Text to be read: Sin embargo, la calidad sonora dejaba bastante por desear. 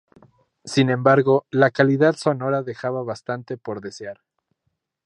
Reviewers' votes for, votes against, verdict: 2, 0, accepted